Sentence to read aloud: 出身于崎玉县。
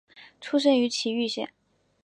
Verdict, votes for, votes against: accepted, 2, 0